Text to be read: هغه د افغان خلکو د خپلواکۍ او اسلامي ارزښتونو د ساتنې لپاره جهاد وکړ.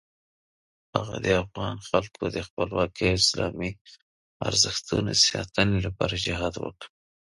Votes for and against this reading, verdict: 0, 3, rejected